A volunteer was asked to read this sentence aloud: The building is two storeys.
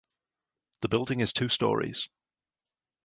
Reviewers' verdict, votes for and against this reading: accepted, 3, 0